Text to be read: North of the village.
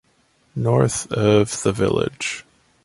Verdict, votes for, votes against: accepted, 2, 0